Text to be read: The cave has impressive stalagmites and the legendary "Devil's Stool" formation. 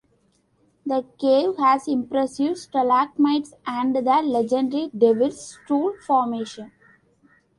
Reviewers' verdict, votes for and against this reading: accepted, 2, 0